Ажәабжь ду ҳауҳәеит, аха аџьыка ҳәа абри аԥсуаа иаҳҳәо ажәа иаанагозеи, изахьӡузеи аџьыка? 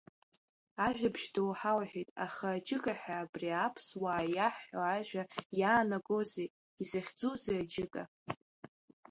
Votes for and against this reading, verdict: 1, 2, rejected